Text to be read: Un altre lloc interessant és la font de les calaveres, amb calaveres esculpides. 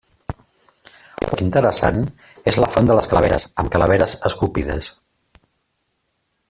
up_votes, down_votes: 0, 2